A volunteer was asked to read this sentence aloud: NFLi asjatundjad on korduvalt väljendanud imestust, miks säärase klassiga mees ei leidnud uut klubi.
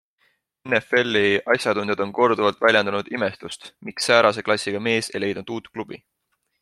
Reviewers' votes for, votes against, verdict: 2, 0, accepted